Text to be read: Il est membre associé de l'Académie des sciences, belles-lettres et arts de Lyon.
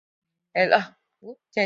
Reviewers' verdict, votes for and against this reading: rejected, 0, 2